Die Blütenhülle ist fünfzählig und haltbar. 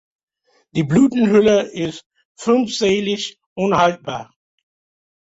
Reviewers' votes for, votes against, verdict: 2, 0, accepted